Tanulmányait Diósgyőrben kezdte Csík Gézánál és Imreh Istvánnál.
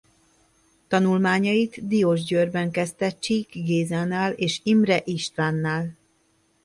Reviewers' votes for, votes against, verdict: 2, 1, accepted